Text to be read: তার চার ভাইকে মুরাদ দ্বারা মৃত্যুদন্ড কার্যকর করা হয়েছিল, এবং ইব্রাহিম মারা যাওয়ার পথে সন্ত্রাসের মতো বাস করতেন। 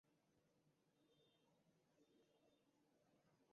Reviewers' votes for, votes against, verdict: 0, 2, rejected